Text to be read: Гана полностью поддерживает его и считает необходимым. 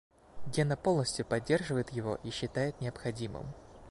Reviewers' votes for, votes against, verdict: 2, 3, rejected